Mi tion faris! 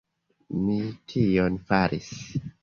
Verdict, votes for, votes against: accepted, 2, 0